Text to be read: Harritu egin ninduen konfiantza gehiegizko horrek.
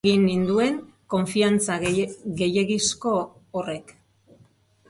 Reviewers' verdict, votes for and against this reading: rejected, 2, 4